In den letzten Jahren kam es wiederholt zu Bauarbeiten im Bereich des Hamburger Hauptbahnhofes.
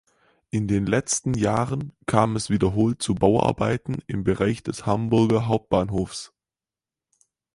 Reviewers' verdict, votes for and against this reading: rejected, 2, 4